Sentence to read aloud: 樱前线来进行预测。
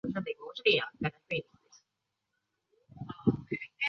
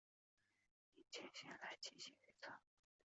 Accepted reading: first